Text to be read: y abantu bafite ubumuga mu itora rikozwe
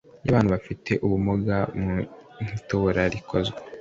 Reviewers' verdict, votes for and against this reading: accepted, 2, 0